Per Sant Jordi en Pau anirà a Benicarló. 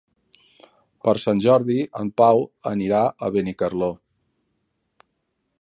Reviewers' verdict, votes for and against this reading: accepted, 4, 0